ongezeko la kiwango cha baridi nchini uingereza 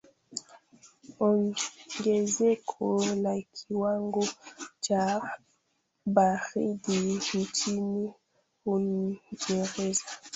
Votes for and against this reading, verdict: 0, 2, rejected